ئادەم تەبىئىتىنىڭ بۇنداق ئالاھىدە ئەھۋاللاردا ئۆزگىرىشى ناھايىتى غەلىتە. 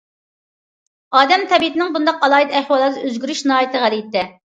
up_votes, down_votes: 0, 2